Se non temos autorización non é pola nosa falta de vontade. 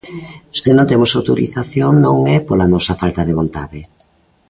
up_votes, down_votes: 2, 0